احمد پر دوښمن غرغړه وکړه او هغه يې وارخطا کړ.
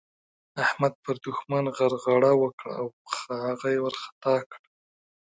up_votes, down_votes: 2, 0